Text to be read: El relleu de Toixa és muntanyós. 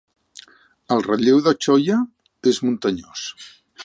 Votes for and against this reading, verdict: 1, 2, rejected